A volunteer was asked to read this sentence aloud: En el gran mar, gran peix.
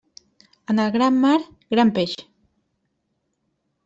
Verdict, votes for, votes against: accepted, 3, 0